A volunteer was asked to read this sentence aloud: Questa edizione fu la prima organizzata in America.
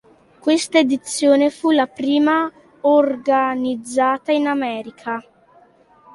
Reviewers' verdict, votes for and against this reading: accepted, 2, 1